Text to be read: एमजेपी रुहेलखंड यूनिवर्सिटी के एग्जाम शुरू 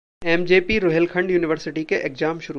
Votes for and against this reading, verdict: 2, 0, accepted